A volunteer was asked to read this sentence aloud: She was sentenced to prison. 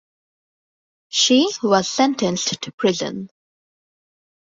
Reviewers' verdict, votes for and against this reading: rejected, 1, 2